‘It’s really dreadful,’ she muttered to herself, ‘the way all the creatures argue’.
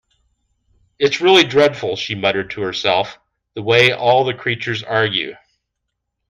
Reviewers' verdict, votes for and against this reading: accepted, 2, 0